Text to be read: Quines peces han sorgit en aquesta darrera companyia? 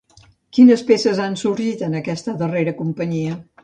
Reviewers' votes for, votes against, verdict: 2, 0, accepted